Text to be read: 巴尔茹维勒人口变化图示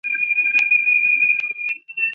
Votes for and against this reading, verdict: 0, 3, rejected